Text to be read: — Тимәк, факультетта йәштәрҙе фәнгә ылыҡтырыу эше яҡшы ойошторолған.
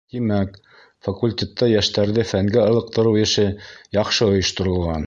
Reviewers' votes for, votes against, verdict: 2, 0, accepted